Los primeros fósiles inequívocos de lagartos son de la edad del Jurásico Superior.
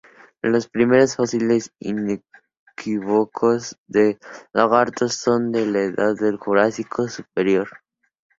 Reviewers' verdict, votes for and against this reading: accepted, 2, 0